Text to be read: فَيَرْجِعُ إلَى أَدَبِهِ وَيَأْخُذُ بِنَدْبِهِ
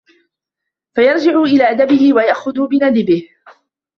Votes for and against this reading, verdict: 1, 2, rejected